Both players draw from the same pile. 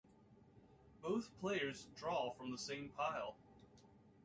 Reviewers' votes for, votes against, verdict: 2, 0, accepted